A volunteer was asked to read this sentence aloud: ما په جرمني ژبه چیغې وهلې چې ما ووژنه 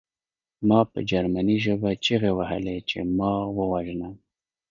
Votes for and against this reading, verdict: 1, 2, rejected